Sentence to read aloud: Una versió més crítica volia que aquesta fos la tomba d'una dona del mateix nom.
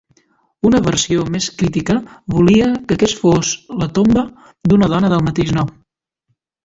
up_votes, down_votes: 0, 2